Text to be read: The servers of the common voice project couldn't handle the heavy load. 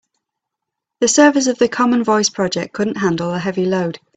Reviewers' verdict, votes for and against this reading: accepted, 2, 0